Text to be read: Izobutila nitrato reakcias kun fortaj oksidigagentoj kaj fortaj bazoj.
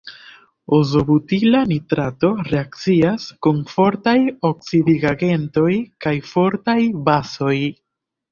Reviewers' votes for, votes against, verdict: 1, 2, rejected